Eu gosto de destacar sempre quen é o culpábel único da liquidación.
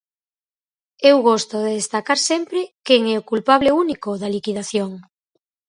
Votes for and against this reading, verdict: 0, 4, rejected